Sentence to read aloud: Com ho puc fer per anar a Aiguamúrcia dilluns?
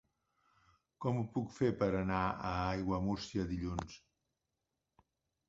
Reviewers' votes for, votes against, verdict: 2, 0, accepted